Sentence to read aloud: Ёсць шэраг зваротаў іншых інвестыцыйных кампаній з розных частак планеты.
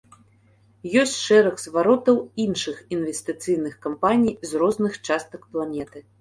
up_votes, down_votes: 2, 0